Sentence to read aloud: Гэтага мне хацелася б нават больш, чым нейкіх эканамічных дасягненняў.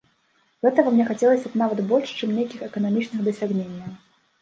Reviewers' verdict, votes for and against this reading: accepted, 2, 0